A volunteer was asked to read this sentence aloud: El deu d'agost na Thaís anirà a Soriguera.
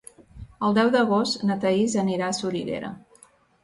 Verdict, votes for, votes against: accepted, 2, 0